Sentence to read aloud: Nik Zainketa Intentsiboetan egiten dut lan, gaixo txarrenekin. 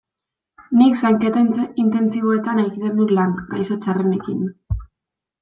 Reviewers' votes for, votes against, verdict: 2, 0, accepted